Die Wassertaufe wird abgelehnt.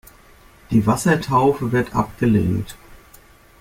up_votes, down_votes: 3, 0